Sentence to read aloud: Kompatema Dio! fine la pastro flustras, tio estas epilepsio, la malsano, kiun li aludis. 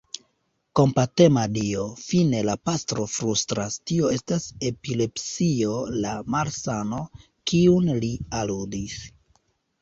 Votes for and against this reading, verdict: 1, 3, rejected